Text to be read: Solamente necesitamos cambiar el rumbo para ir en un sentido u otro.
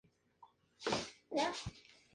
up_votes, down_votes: 0, 2